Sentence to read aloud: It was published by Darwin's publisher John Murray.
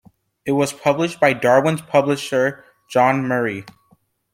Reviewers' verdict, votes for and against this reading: accepted, 2, 0